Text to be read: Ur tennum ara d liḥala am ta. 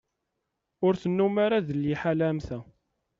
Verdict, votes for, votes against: accepted, 2, 0